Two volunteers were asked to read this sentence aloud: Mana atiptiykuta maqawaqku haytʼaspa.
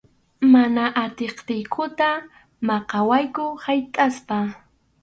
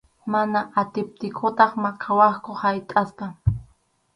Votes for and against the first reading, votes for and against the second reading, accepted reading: 2, 2, 4, 0, second